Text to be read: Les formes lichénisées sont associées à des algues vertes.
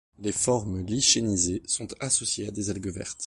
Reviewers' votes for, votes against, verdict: 1, 2, rejected